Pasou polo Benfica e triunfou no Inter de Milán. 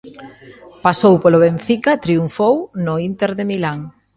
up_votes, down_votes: 0, 2